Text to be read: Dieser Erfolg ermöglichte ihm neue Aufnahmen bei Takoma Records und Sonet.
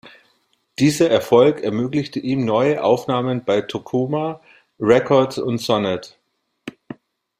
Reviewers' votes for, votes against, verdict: 2, 1, accepted